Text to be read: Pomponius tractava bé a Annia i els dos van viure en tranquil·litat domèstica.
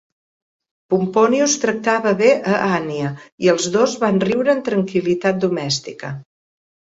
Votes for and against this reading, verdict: 0, 2, rejected